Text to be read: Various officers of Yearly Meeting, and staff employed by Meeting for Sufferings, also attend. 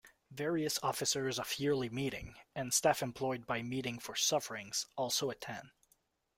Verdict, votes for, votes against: accepted, 2, 0